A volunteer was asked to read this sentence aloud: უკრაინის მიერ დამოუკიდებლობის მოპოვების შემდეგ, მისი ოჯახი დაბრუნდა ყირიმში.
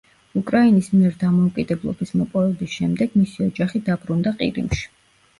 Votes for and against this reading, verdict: 2, 0, accepted